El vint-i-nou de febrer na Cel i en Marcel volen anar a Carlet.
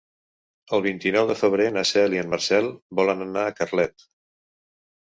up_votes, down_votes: 3, 0